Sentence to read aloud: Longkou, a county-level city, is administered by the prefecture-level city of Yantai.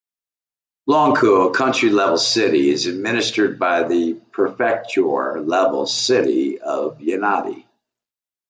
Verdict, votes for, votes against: rejected, 0, 2